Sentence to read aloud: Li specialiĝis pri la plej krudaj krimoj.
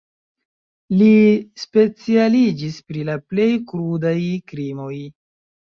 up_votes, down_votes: 0, 2